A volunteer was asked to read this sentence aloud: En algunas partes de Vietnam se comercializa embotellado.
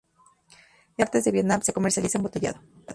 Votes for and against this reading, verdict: 0, 2, rejected